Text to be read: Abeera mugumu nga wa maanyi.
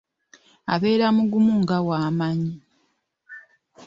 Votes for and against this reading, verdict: 0, 2, rejected